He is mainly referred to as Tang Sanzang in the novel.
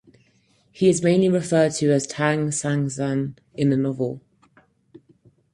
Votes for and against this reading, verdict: 4, 0, accepted